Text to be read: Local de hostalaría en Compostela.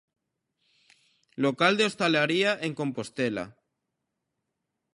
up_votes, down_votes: 3, 0